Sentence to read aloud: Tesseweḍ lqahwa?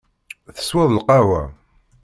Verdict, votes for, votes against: accepted, 2, 1